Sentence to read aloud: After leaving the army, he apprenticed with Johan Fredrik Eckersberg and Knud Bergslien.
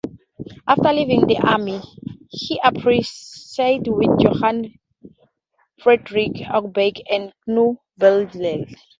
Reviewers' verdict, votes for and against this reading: rejected, 0, 4